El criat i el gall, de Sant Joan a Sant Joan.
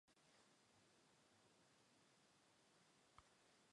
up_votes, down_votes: 0, 2